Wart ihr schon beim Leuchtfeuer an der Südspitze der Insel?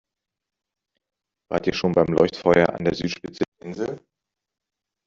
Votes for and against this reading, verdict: 0, 2, rejected